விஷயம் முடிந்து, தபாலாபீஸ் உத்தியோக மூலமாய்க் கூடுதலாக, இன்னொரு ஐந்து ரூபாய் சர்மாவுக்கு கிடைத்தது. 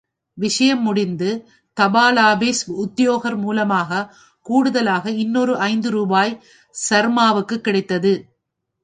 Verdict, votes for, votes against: rejected, 0, 2